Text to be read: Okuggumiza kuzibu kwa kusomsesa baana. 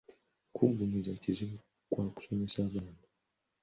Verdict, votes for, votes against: rejected, 1, 2